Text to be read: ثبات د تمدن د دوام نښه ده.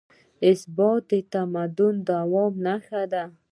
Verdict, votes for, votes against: rejected, 1, 2